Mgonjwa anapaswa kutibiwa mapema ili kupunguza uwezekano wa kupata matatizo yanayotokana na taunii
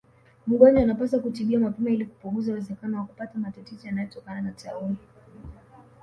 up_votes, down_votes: 2, 0